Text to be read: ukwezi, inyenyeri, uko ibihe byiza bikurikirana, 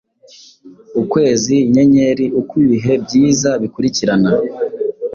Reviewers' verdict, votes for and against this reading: accepted, 2, 0